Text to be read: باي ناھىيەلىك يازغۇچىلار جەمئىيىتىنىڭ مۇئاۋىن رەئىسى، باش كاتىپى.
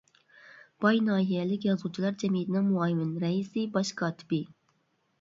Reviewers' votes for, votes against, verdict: 0, 2, rejected